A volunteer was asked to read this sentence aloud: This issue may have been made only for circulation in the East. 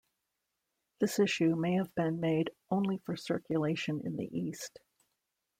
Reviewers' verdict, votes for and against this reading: rejected, 1, 2